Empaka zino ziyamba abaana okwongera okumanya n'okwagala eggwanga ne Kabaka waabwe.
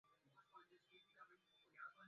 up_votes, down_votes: 0, 2